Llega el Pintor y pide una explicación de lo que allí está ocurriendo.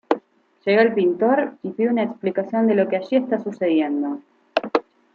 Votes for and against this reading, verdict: 1, 2, rejected